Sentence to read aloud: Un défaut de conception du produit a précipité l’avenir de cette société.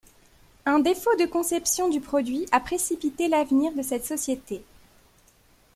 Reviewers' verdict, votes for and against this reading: accepted, 2, 0